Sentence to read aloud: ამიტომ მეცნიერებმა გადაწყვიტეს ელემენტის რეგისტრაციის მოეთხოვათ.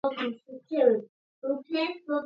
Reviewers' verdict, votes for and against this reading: rejected, 0, 2